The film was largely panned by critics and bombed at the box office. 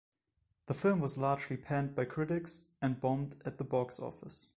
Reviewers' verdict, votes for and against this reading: accepted, 2, 0